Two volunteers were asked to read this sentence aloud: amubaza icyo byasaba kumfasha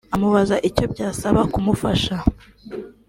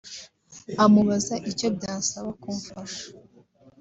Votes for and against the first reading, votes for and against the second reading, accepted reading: 0, 2, 2, 0, second